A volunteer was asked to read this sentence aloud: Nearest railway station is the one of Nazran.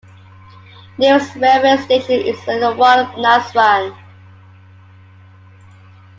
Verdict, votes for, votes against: rejected, 1, 2